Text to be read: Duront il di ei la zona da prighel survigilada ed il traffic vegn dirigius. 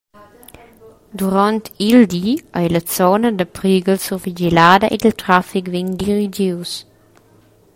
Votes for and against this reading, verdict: 2, 1, accepted